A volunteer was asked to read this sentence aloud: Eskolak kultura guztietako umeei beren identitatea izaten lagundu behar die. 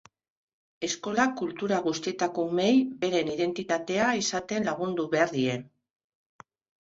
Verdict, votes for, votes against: accepted, 2, 0